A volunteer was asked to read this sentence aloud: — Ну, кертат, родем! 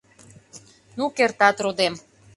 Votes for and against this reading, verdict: 2, 0, accepted